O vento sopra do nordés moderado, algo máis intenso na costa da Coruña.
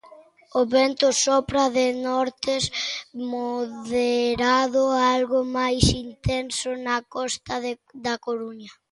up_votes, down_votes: 0, 2